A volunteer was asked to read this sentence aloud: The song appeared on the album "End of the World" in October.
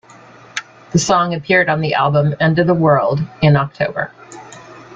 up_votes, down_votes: 2, 0